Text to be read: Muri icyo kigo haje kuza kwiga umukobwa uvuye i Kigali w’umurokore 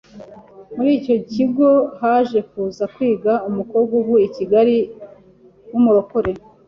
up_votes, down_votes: 2, 0